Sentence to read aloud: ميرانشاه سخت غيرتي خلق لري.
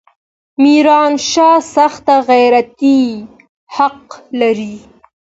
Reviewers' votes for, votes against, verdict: 2, 1, accepted